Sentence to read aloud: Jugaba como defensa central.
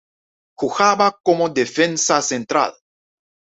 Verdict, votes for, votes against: rejected, 1, 2